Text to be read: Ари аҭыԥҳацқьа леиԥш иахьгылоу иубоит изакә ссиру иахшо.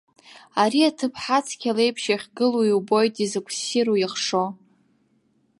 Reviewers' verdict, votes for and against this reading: accepted, 2, 0